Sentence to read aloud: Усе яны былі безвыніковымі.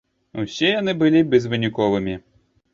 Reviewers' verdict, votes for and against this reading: accepted, 3, 0